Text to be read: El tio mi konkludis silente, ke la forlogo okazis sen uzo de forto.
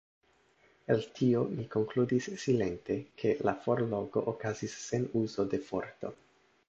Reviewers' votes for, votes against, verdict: 0, 2, rejected